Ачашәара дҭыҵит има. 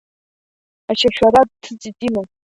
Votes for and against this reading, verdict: 2, 1, accepted